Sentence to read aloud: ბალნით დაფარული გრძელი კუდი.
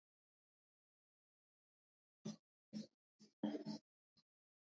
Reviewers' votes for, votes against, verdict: 0, 2, rejected